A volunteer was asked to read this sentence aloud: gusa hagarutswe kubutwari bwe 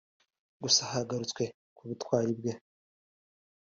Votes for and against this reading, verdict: 2, 0, accepted